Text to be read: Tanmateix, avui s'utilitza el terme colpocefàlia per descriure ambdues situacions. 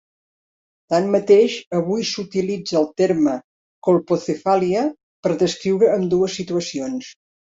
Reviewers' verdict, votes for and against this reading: accepted, 3, 0